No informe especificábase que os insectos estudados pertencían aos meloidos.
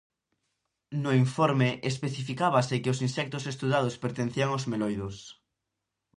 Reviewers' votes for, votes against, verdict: 4, 0, accepted